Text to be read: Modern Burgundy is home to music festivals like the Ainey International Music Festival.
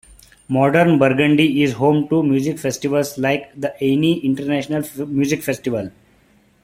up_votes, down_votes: 2, 0